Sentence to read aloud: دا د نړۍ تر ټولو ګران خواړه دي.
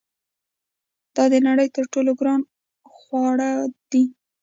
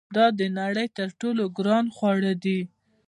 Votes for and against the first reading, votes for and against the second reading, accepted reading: 1, 2, 2, 0, second